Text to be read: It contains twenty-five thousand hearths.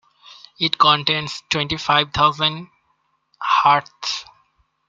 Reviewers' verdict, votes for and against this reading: rejected, 1, 2